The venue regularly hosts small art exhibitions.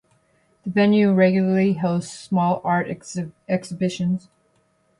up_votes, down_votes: 0, 2